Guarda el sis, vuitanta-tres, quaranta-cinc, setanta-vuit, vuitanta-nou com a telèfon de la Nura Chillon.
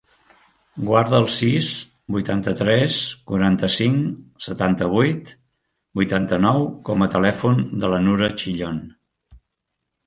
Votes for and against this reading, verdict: 4, 0, accepted